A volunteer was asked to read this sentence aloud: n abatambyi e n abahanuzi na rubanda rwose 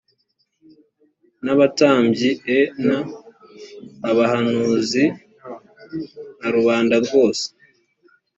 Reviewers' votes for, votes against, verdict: 2, 0, accepted